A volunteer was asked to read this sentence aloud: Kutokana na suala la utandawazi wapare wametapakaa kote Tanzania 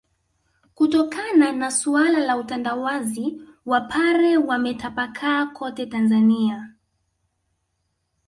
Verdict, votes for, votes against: accepted, 2, 0